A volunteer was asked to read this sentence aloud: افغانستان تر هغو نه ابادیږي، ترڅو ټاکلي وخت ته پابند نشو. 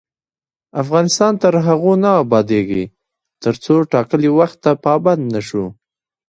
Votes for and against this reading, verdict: 1, 2, rejected